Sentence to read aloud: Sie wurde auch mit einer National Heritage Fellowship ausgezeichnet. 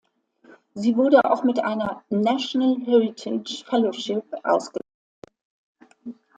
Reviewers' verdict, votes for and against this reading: rejected, 0, 2